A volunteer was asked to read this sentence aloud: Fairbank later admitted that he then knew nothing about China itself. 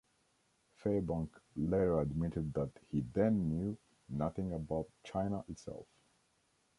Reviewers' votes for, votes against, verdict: 2, 1, accepted